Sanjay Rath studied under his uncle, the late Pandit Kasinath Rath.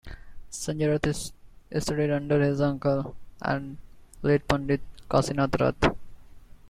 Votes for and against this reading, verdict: 2, 0, accepted